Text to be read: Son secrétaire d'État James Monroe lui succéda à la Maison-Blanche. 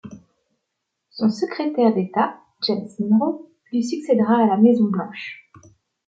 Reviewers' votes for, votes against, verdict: 0, 2, rejected